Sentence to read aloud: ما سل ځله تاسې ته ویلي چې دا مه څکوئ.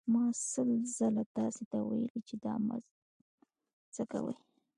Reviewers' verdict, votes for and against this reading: rejected, 0, 2